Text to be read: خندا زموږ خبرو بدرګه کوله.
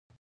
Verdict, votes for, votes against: rejected, 1, 2